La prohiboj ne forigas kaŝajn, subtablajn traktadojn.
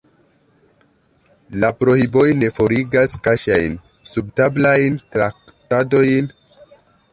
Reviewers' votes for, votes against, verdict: 1, 2, rejected